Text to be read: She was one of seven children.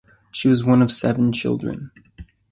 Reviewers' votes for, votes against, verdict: 2, 0, accepted